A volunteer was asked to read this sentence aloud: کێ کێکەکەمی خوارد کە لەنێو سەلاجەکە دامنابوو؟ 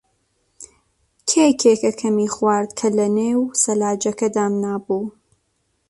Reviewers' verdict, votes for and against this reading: accepted, 2, 0